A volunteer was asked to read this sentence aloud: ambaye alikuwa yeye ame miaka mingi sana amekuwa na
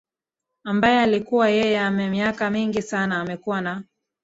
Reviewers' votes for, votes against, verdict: 0, 2, rejected